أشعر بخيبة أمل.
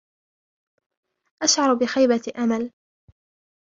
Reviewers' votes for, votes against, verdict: 0, 2, rejected